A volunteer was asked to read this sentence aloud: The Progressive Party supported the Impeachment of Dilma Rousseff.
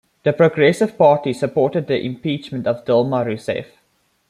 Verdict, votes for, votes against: accepted, 2, 0